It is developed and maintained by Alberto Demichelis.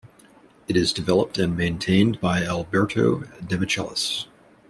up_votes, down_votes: 2, 0